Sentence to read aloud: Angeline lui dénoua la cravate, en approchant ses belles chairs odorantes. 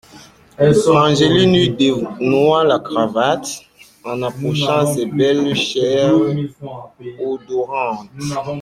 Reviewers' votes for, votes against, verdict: 0, 2, rejected